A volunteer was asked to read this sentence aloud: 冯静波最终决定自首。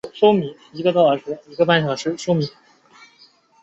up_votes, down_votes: 1, 3